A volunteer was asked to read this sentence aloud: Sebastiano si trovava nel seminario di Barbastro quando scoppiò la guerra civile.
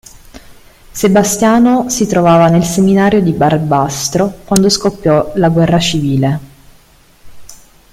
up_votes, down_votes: 2, 1